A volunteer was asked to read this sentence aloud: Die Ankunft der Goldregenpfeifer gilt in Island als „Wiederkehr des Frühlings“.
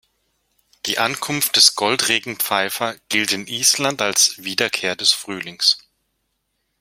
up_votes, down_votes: 1, 2